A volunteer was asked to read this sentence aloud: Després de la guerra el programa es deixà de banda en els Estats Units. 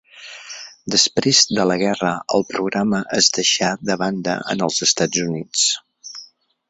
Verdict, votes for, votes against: accepted, 4, 0